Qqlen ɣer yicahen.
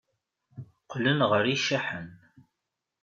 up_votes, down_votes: 1, 2